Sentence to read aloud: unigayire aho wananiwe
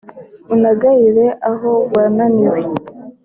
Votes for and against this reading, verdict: 0, 2, rejected